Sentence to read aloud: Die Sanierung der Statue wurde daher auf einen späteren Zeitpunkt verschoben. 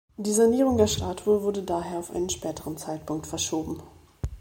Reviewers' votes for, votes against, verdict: 2, 0, accepted